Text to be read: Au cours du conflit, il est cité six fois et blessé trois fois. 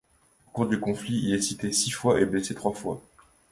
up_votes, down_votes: 2, 0